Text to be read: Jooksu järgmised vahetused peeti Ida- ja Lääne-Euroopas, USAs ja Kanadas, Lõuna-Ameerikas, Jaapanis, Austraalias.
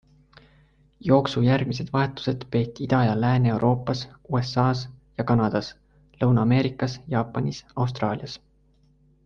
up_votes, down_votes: 3, 0